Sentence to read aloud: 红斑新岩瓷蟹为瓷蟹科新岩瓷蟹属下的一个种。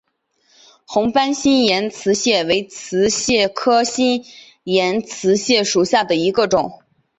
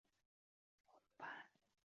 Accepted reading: first